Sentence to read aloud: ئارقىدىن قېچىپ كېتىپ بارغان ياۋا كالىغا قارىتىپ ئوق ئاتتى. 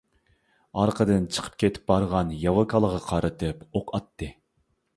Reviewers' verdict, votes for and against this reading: rejected, 1, 2